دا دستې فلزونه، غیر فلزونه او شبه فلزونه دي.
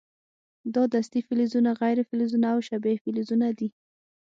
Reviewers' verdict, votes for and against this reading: accepted, 6, 0